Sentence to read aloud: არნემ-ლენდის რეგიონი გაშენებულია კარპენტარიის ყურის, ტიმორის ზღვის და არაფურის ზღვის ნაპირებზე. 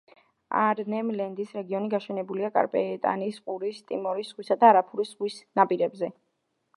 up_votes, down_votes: 0, 2